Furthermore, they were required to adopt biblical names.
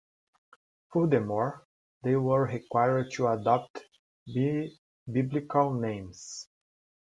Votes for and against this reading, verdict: 2, 1, accepted